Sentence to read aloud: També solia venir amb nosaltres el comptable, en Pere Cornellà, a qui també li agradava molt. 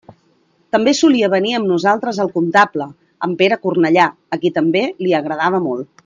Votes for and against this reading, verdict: 2, 0, accepted